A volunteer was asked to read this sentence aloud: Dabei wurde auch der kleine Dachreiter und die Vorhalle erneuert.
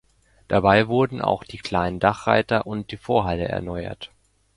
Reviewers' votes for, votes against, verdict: 0, 2, rejected